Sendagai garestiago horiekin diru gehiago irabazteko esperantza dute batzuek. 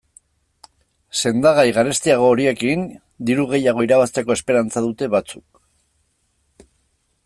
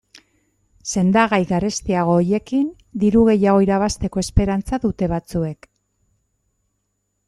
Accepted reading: second